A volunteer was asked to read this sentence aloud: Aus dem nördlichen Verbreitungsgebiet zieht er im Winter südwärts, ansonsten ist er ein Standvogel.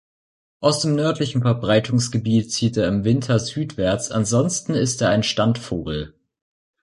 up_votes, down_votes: 2, 0